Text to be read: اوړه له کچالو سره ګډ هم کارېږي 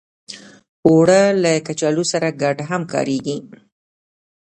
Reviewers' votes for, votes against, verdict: 1, 2, rejected